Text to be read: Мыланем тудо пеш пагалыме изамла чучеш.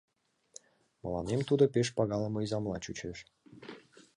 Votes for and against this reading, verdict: 2, 0, accepted